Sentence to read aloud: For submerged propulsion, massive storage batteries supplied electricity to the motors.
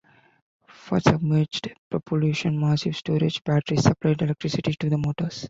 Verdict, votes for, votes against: rejected, 1, 2